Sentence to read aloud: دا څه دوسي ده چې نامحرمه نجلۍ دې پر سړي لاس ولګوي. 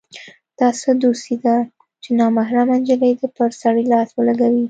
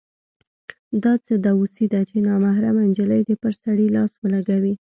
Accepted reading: second